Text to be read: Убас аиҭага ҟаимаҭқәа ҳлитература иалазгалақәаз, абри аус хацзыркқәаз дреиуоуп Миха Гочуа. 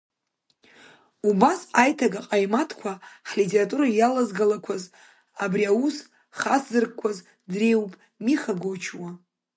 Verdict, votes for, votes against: rejected, 0, 2